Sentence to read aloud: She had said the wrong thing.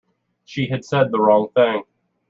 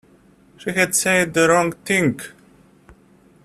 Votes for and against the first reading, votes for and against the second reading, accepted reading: 2, 0, 1, 2, first